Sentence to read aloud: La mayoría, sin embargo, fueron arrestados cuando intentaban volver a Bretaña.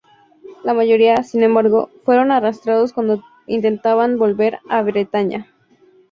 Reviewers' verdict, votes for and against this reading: rejected, 0, 2